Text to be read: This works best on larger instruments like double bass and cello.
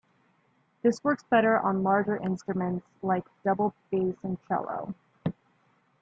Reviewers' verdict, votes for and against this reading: rejected, 1, 2